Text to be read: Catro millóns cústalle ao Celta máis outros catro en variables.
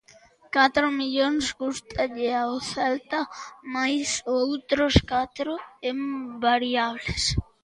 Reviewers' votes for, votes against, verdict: 2, 0, accepted